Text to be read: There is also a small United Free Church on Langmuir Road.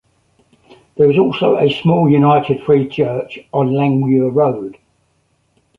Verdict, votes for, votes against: accepted, 3, 0